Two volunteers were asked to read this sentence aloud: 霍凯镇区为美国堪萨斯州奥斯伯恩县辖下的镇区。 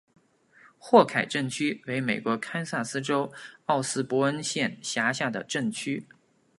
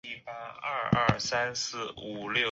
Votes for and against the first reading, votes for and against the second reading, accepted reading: 2, 0, 0, 2, first